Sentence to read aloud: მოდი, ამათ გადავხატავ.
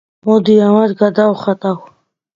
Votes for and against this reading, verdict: 2, 0, accepted